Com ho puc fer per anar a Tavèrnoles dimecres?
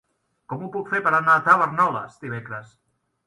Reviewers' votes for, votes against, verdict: 0, 2, rejected